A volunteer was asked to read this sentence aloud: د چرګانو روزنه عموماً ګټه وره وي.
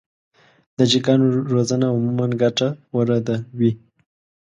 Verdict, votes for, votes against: rejected, 1, 2